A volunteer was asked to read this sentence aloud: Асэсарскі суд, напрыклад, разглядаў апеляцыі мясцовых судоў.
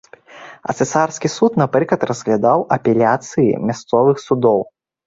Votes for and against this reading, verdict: 1, 2, rejected